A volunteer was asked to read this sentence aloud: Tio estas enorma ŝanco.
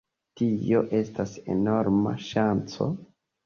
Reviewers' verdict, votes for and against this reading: accepted, 2, 1